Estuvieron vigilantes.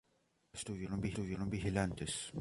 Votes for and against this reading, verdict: 0, 2, rejected